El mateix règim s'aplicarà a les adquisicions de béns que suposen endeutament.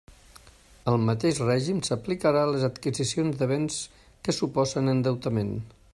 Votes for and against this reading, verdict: 2, 0, accepted